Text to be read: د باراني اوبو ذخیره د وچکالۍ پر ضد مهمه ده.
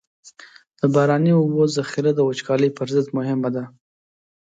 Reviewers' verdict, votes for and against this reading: accepted, 2, 0